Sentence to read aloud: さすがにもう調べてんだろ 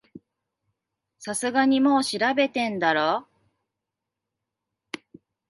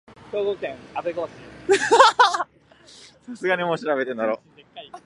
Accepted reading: first